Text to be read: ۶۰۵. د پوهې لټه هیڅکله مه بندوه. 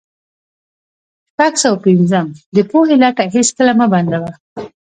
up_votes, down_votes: 0, 2